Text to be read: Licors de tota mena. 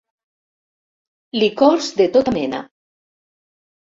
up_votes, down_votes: 4, 0